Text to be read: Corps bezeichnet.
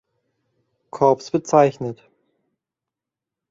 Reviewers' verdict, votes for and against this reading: accepted, 2, 0